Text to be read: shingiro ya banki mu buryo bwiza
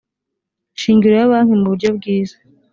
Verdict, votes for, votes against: accepted, 2, 0